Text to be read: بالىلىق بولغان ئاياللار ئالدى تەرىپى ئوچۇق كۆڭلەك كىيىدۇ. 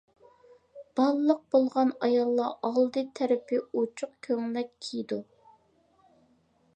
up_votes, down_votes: 2, 0